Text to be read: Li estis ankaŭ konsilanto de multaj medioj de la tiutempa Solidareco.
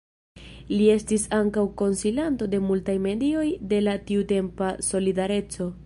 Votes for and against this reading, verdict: 0, 2, rejected